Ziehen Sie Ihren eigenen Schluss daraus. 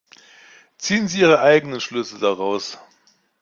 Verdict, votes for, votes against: rejected, 0, 2